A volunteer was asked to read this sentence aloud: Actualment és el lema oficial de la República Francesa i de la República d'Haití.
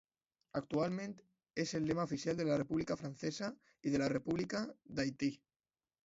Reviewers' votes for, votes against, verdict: 1, 2, rejected